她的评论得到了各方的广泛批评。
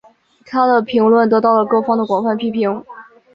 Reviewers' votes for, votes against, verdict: 2, 0, accepted